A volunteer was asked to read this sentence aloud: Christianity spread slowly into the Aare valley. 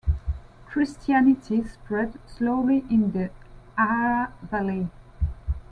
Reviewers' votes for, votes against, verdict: 1, 2, rejected